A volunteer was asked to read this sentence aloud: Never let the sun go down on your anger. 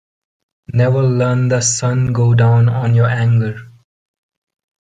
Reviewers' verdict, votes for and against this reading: rejected, 0, 2